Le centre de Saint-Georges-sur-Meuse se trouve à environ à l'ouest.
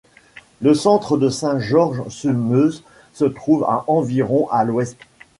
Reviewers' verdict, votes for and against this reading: accepted, 2, 0